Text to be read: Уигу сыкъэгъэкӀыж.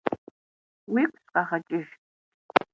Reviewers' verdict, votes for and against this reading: rejected, 1, 3